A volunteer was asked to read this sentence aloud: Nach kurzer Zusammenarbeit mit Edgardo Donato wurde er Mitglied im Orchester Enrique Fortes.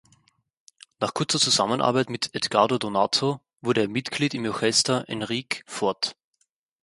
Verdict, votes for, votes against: rejected, 2, 4